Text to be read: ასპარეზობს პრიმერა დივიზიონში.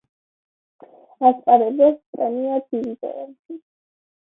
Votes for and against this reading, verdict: 0, 2, rejected